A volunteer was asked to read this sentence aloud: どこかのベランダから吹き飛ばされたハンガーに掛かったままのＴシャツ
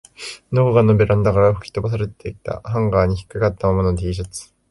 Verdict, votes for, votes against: accepted, 4, 2